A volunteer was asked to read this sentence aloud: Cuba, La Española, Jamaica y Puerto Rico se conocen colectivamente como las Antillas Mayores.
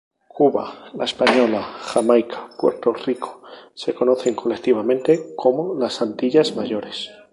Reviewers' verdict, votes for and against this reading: accepted, 2, 0